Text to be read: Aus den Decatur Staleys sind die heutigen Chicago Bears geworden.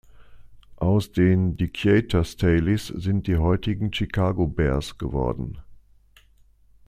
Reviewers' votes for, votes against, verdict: 2, 0, accepted